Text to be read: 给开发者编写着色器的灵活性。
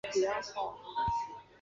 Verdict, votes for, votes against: rejected, 0, 5